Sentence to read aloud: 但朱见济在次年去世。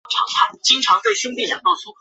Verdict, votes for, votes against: rejected, 0, 2